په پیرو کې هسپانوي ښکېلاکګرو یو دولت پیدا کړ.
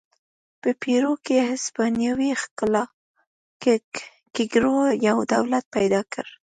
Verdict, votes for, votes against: rejected, 1, 2